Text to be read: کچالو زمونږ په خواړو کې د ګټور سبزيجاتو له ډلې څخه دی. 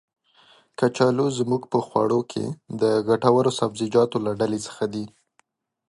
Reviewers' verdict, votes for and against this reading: accepted, 2, 0